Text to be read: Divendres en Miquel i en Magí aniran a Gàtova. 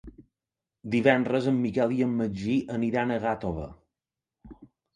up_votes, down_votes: 2, 0